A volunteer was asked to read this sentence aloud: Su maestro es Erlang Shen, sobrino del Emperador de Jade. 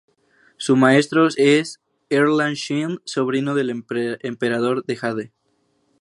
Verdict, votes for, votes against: rejected, 0, 2